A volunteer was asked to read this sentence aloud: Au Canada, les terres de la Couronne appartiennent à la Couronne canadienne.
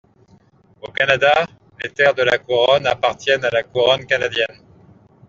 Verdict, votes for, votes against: accepted, 2, 0